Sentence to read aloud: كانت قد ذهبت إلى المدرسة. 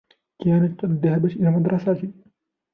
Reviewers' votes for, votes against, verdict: 2, 0, accepted